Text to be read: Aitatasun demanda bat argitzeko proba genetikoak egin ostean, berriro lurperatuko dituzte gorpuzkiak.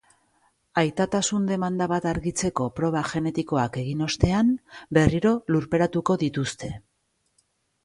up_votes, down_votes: 0, 2